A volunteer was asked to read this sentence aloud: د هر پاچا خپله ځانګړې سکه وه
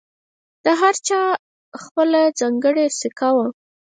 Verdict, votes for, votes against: rejected, 2, 4